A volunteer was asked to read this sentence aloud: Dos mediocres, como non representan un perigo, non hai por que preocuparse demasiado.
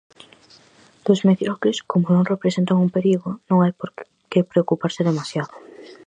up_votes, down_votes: 0, 4